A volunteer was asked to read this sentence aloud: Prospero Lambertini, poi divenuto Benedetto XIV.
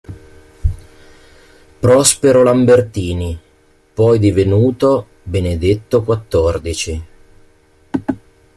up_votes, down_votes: 0, 2